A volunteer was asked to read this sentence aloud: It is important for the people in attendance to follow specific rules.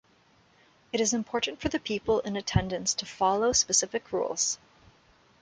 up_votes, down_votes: 2, 0